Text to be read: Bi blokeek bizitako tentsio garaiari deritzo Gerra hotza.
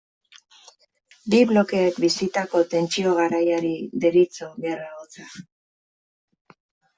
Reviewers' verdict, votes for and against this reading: accepted, 2, 0